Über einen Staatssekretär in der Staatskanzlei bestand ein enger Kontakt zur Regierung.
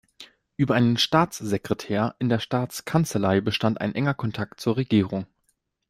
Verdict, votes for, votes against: accepted, 2, 0